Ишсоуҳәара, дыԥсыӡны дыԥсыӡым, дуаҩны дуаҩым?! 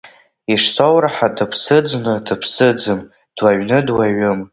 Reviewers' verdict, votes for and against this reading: rejected, 0, 2